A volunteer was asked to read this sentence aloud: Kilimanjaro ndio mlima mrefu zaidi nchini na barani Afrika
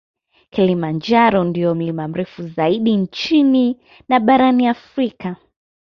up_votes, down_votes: 2, 0